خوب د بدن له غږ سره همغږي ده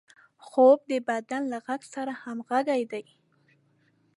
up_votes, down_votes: 0, 2